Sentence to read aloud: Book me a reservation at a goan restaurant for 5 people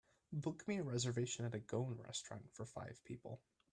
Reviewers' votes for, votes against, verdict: 0, 2, rejected